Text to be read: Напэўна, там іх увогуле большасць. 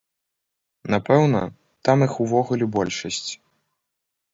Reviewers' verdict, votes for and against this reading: accepted, 2, 0